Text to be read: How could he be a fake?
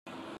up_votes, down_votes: 0, 2